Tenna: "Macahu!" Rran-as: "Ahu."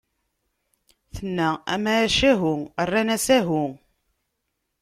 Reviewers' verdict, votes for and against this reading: rejected, 0, 2